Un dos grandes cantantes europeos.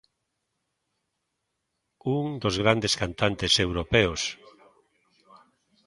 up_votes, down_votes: 2, 0